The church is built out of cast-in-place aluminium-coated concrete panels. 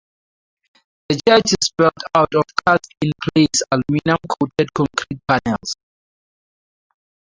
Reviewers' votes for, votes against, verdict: 0, 2, rejected